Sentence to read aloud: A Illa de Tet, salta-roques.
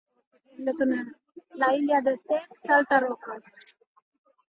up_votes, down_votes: 0, 2